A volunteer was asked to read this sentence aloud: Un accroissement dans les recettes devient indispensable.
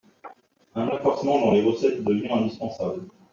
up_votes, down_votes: 1, 2